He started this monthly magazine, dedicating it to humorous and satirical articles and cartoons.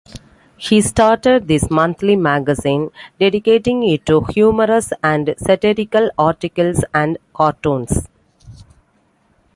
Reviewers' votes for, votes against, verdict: 2, 0, accepted